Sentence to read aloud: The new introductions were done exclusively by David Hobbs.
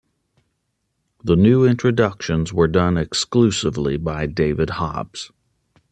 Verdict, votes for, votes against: accepted, 2, 0